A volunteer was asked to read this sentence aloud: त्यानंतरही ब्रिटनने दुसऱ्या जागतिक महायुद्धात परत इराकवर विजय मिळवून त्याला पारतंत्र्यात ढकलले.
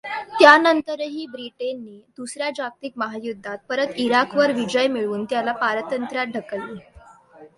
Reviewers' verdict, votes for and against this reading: accepted, 2, 0